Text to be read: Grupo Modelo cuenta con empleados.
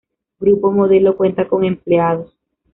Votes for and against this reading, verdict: 2, 0, accepted